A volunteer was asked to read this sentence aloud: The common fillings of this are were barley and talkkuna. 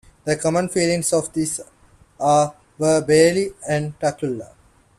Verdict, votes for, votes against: rejected, 1, 2